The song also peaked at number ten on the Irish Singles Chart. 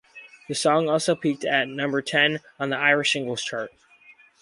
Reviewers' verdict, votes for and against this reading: accepted, 4, 0